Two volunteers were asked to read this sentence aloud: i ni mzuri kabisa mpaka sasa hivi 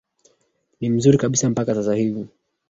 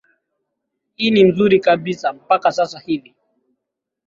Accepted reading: second